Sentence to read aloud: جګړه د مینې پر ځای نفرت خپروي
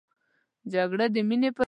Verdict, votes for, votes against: rejected, 0, 2